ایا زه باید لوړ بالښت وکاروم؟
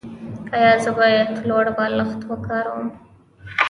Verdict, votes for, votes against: accepted, 2, 0